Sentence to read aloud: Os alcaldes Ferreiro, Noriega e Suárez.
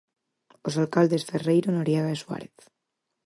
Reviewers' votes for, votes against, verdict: 4, 0, accepted